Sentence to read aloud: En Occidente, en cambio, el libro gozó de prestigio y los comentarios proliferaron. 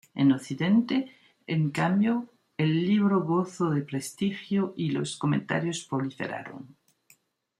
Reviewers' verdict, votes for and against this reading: accepted, 2, 1